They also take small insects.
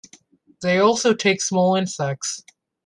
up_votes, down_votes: 2, 0